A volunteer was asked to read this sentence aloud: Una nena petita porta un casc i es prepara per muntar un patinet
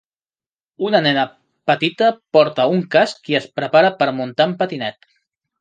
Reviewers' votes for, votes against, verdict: 1, 3, rejected